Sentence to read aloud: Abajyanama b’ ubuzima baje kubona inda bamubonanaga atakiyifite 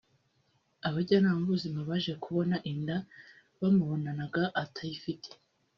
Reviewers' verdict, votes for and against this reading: rejected, 0, 2